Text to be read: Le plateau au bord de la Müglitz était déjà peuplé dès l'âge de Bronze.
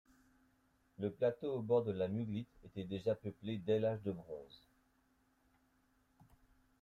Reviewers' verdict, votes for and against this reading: rejected, 0, 2